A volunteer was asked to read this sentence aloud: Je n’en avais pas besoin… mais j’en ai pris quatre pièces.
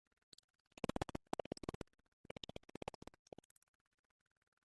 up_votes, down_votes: 0, 2